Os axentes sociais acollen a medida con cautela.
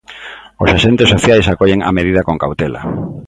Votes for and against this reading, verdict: 2, 0, accepted